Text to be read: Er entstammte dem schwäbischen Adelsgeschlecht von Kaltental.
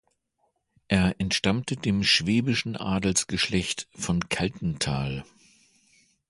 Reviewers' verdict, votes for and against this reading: accepted, 2, 0